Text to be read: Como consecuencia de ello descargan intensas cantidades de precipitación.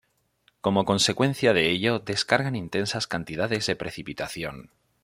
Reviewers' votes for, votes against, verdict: 2, 0, accepted